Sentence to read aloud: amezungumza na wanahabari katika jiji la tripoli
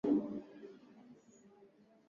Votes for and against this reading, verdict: 0, 2, rejected